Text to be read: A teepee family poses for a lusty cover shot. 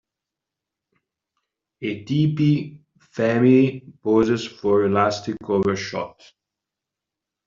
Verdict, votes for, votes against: rejected, 0, 2